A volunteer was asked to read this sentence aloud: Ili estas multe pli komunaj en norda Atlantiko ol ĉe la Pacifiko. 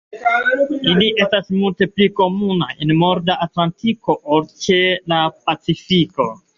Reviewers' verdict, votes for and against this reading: accepted, 2, 1